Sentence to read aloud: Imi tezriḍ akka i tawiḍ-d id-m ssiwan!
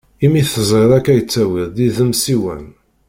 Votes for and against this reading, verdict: 0, 2, rejected